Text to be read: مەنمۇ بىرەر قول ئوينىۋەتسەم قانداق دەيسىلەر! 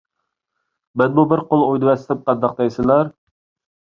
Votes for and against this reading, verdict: 1, 2, rejected